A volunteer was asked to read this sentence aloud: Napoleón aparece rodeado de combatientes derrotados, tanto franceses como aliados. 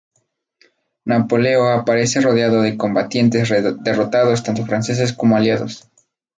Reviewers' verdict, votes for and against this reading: rejected, 0, 2